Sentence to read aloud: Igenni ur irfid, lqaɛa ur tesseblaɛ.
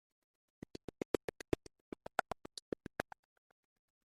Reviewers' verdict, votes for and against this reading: rejected, 0, 2